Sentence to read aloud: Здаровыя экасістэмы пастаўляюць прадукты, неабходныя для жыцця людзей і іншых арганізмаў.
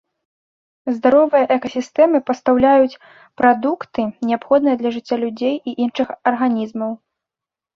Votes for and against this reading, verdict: 2, 0, accepted